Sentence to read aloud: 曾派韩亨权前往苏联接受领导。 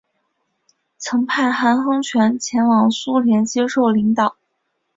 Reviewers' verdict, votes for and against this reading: accepted, 2, 0